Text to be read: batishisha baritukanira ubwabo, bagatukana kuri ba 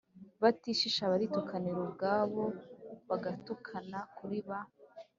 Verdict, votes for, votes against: accepted, 3, 0